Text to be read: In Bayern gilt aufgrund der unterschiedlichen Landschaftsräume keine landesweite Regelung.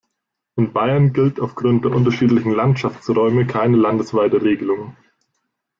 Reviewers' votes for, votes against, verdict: 2, 0, accepted